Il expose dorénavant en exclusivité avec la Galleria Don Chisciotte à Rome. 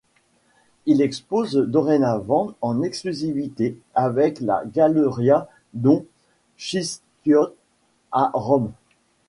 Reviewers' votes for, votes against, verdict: 1, 3, rejected